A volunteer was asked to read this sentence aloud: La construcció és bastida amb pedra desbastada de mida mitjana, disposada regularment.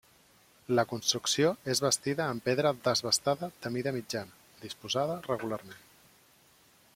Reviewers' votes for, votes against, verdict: 3, 0, accepted